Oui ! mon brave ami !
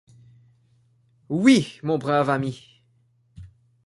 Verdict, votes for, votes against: accepted, 2, 0